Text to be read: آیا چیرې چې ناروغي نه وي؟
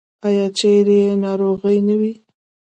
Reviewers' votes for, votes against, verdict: 2, 0, accepted